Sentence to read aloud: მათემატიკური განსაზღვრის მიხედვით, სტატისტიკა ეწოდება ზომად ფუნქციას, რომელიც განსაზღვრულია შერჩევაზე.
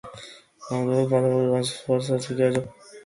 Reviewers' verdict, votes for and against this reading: rejected, 0, 2